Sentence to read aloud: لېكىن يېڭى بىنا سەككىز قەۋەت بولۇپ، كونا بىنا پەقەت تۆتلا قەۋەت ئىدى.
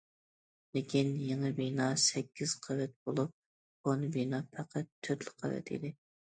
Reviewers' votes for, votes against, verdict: 2, 0, accepted